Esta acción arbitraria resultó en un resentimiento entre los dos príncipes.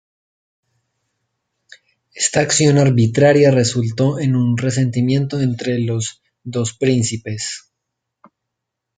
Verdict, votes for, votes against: rejected, 0, 2